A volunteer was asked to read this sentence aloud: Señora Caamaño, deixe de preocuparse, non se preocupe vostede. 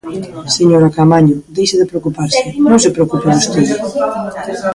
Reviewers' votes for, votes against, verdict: 0, 2, rejected